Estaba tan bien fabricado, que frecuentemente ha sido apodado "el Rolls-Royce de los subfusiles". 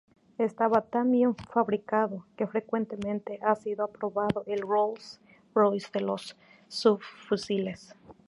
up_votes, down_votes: 0, 2